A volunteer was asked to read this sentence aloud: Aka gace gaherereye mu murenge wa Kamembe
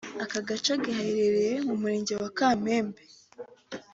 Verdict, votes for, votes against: accepted, 2, 0